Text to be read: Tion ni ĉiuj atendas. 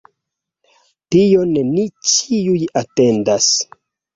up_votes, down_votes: 2, 1